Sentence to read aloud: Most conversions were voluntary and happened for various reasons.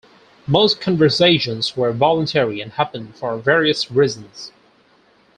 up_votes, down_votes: 2, 4